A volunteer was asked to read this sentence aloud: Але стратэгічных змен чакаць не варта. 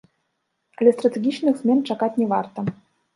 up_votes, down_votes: 0, 2